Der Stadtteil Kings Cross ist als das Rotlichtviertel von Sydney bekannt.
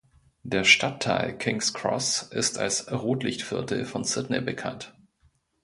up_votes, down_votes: 0, 2